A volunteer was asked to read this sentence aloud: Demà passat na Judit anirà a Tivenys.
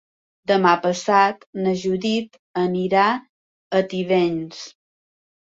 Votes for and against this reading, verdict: 2, 0, accepted